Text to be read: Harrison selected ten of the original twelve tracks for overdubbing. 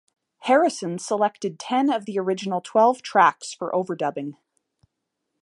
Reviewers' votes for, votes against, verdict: 0, 2, rejected